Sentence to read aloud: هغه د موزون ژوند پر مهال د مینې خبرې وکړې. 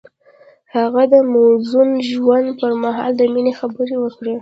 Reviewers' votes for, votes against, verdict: 0, 2, rejected